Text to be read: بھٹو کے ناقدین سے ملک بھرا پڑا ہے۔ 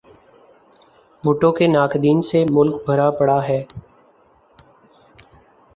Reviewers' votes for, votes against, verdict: 2, 0, accepted